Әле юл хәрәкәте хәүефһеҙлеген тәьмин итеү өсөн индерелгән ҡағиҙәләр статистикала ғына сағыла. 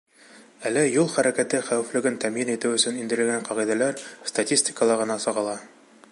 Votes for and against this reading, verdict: 0, 2, rejected